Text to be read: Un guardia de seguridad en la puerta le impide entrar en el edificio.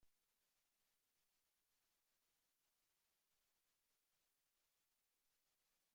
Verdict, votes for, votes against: rejected, 0, 2